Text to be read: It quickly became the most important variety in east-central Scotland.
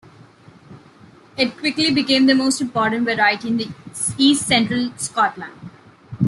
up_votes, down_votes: 1, 2